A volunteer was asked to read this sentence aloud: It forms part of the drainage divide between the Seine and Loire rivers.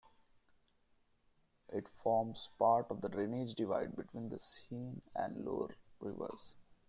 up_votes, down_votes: 2, 1